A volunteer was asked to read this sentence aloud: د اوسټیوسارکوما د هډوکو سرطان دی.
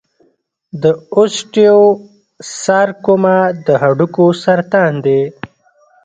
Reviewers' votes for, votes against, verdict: 1, 2, rejected